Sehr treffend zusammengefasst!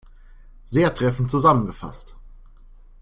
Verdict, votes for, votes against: accepted, 3, 0